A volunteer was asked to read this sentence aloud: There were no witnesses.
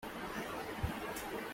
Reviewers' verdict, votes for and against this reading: rejected, 0, 2